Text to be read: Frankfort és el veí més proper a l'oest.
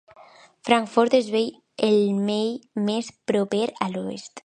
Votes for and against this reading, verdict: 1, 2, rejected